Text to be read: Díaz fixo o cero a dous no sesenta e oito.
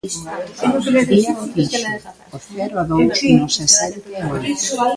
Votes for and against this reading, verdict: 0, 2, rejected